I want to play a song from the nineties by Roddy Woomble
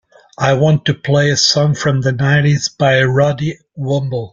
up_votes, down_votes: 3, 0